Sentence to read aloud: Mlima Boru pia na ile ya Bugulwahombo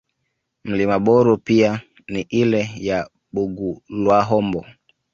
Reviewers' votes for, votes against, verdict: 1, 2, rejected